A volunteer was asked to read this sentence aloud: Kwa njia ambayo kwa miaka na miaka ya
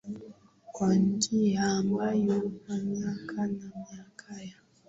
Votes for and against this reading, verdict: 11, 2, accepted